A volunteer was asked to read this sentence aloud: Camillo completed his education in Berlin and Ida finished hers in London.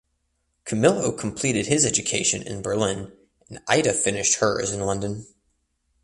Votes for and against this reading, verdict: 2, 0, accepted